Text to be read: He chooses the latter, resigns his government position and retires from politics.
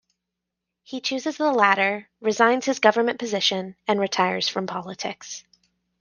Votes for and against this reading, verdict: 2, 0, accepted